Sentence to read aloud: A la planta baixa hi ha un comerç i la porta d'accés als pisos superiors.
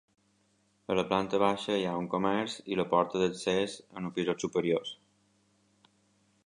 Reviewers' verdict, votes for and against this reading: rejected, 1, 2